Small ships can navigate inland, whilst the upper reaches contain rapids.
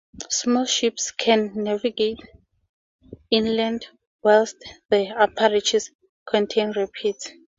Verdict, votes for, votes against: rejected, 2, 2